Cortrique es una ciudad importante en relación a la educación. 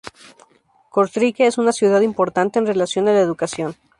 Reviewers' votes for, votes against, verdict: 2, 0, accepted